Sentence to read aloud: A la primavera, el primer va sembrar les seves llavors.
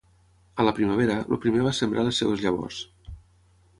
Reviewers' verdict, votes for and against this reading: rejected, 0, 3